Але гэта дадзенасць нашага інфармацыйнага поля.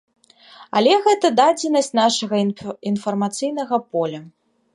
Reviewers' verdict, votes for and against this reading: rejected, 0, 2